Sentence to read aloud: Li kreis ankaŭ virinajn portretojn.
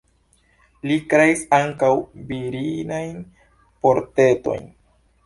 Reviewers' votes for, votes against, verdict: 2, 0, accepted